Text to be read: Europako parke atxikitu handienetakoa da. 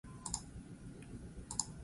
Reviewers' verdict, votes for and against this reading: rejected, 0, 4